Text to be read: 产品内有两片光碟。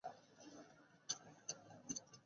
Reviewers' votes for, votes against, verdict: 3, 6, rejected